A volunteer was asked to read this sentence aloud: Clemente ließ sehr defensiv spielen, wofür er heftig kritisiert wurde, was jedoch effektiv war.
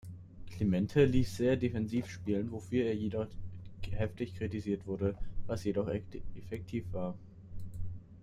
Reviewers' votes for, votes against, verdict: 0, 2, rejected